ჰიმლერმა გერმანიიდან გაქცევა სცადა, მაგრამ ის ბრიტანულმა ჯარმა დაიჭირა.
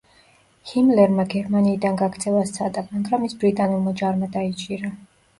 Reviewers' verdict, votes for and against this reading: accepted, 2, 0